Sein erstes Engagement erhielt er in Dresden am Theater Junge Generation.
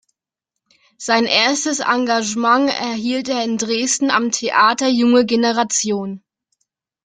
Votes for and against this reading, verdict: 1, 2, rejected